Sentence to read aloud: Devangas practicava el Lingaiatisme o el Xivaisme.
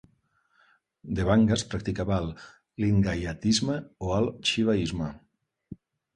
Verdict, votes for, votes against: rejected, 1, 2